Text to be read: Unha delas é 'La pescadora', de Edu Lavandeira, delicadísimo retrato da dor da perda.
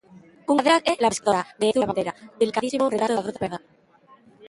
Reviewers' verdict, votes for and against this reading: rejected, 0, 2